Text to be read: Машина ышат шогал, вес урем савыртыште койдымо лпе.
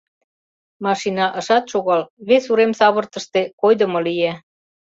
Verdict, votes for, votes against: rejected, 1, 2